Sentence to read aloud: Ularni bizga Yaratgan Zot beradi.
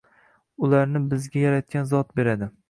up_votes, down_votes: 1, 2